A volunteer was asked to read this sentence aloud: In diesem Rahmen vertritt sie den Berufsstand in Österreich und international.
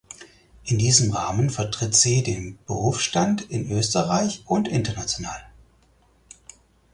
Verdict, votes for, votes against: accepted, 4, 0